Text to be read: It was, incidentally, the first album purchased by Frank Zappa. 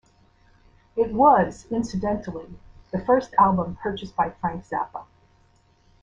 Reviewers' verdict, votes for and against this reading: accepted, 2, 0